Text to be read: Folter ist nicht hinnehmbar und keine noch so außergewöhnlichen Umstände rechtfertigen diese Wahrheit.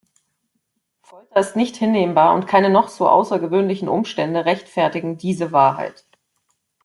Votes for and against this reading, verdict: 1, 2, rejected